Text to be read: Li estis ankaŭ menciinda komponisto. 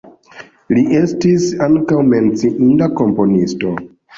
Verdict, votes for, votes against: accepted, 2, 0